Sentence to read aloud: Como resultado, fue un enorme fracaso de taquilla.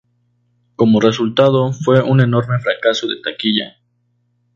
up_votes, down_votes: 2, 0